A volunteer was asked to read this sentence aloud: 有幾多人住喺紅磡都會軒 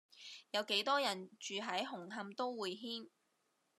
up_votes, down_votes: 2, 0